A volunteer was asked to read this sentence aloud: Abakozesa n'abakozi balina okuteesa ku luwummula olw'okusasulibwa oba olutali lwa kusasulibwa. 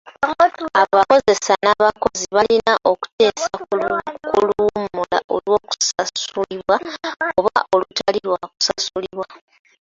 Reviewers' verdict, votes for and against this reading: rejected, 0, 2